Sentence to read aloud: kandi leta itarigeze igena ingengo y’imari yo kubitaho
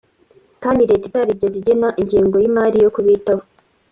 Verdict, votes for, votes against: accepted, 2, 0